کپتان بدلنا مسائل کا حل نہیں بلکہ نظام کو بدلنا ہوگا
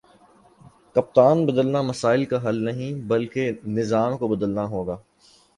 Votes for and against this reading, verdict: 3, 0, accepted